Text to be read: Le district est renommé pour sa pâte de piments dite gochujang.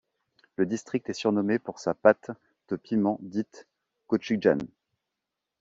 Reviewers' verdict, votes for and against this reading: rejected, 1, 2